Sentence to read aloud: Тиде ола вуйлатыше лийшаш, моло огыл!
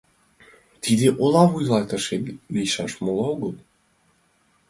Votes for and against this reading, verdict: 2, 0, accepted